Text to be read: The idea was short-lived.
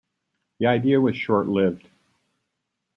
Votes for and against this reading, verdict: 0, 2, rejected